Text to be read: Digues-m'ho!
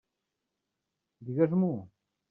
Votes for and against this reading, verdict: 2, 0, accepted